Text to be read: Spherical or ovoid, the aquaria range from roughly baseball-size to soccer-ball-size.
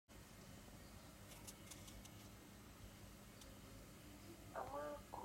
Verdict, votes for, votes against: rejected, 0, 2